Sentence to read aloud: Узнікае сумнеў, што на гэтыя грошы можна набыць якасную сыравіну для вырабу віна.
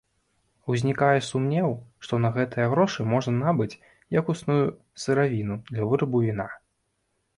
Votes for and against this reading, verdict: 0, 2, rejected